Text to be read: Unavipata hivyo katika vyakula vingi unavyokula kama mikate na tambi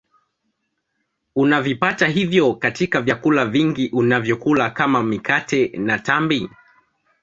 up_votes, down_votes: 2, 0